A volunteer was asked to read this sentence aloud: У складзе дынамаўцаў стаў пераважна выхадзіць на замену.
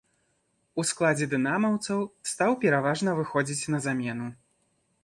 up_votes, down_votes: 1, 2